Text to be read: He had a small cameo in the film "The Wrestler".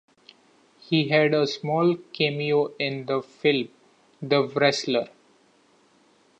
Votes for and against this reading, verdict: 3, 0, accepted